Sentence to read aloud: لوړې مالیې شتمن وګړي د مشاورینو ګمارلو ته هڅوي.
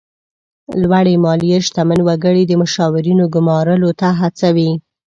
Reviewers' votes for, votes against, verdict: 2, 0, accepted